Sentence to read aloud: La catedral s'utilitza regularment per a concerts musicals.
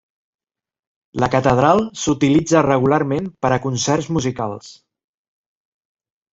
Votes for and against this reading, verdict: 3, 0, accepted